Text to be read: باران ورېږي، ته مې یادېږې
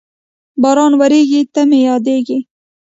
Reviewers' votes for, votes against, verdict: 1, 2, rejected